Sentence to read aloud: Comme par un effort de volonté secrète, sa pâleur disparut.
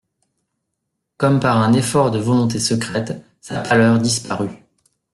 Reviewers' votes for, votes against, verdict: 2, 0, accepted